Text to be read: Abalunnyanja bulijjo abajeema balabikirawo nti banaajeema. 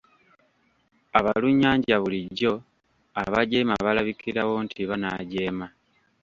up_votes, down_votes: 1, 2